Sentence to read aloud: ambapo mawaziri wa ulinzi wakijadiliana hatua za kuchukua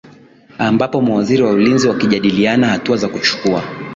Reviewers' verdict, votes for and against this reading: accepted, 2, 1